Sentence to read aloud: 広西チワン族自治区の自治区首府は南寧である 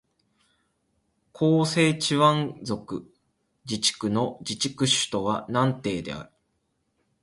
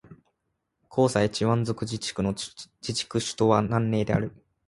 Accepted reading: first